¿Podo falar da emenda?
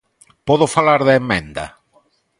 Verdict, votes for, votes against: accepted, 2, 0